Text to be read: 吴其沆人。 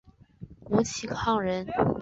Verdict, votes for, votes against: accepted, 3, 2